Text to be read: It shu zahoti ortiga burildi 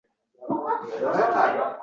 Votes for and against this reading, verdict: 0, 2, rejected